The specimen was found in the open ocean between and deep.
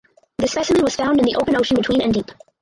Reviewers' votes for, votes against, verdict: 0, 4, rejected